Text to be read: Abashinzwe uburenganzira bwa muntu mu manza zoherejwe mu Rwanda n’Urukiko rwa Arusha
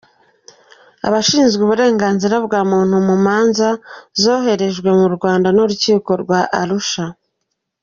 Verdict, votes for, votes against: accepted, 2, 0